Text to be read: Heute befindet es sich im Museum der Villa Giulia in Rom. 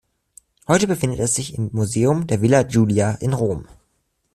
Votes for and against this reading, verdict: 2, 0, accepted